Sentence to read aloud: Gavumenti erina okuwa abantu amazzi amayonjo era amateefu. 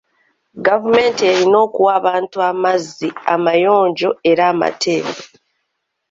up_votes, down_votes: 2, 0